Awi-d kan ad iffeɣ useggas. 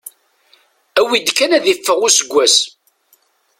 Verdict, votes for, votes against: accepted, 2, 0